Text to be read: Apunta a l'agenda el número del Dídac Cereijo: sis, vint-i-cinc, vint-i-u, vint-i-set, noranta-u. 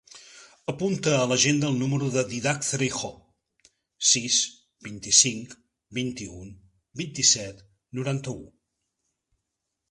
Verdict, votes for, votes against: accepted, 3, 1